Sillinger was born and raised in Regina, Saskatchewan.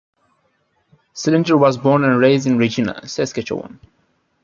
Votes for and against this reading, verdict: 2, 0, accepted